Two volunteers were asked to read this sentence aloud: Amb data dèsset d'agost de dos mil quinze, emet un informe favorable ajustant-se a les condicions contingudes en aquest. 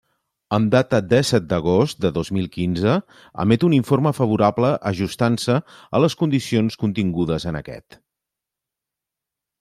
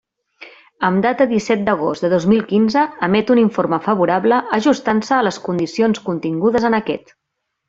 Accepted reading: first